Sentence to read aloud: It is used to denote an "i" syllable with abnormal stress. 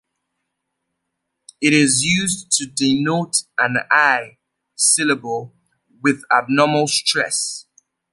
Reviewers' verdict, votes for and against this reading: accepted, 2, 0